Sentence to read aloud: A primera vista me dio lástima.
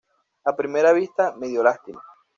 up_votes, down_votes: 1, 2